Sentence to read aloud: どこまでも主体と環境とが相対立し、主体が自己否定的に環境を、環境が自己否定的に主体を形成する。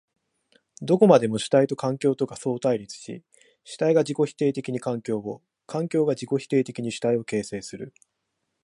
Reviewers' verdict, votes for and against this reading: accepted, 2, 0